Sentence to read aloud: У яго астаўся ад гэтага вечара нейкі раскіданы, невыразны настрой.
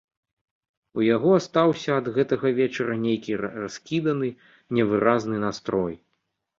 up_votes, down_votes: 2, 1